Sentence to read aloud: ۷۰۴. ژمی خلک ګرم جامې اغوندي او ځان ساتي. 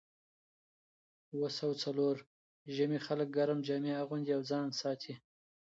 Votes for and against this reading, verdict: 0, 2, rejected